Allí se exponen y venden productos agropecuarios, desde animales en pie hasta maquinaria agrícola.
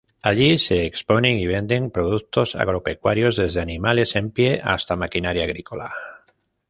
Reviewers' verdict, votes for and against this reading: rejected, 0, 2